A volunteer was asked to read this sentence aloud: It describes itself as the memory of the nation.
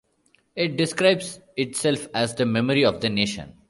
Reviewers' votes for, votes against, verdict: 2, 0, accepted